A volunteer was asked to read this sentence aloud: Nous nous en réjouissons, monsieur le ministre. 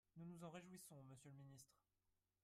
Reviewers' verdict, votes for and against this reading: rejected, 2, 4